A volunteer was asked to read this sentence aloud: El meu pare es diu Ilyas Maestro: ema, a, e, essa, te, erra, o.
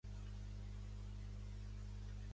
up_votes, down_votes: 1, 2